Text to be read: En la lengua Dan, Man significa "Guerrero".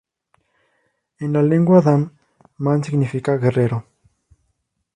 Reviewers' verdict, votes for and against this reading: accepted, 2, 0